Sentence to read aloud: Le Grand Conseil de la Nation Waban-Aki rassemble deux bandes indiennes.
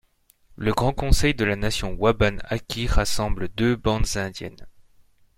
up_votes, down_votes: 2, 0